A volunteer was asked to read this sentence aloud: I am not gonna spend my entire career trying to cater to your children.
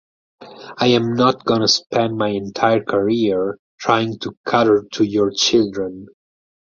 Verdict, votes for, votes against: rejected, 2, 4